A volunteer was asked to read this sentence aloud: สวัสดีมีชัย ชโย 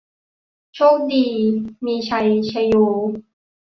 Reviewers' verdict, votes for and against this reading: rejected, 0, 3